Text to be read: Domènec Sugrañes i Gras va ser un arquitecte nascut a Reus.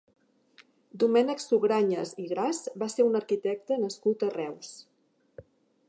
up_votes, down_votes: 4, 0